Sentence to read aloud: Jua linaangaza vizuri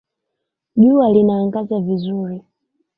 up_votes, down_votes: 2, 0